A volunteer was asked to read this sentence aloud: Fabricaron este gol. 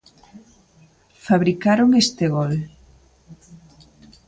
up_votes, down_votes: 3, 0